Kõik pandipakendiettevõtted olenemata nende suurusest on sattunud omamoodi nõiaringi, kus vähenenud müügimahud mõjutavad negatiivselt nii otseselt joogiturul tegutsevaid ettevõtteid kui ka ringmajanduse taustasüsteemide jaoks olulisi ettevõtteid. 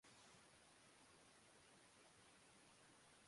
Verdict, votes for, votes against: rejected, 0, 2